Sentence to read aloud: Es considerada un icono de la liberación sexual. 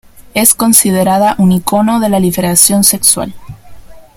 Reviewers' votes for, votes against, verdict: 2, 1, accepted